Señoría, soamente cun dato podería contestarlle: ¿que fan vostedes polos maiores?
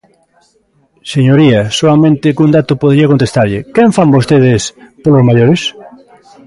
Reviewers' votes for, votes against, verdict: 0, 3, rejected